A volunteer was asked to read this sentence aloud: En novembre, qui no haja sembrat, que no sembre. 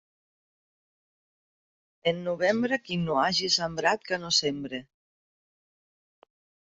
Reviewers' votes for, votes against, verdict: 0, 2, rejected